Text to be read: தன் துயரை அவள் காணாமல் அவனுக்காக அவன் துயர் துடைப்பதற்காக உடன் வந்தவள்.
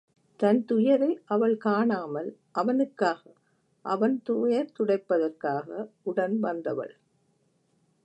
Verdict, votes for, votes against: rejected, 1, 2